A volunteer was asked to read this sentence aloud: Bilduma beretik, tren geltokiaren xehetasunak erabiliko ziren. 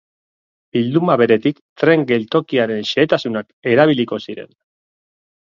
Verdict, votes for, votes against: accepted, 2, 0